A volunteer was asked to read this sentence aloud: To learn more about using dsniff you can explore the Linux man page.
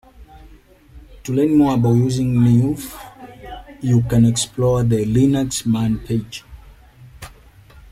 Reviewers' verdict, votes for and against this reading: rejected, 1, 2